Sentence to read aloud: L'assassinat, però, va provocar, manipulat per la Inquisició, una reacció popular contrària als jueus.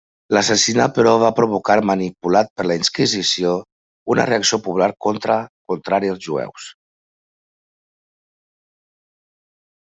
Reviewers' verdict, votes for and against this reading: rejected, 0, 2